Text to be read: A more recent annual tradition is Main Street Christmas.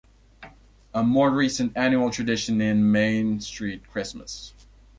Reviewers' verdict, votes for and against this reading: rejected, 0, 2